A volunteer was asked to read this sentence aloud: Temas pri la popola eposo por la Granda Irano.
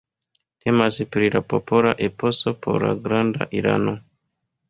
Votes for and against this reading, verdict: 2, 0, accepted